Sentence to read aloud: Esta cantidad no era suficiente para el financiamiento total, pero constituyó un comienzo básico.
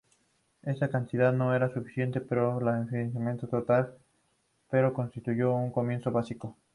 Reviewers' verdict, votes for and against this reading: rejected, 0, 2